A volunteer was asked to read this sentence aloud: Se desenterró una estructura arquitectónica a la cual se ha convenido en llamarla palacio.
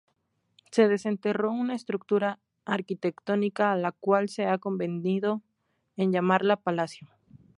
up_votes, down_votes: 0, 2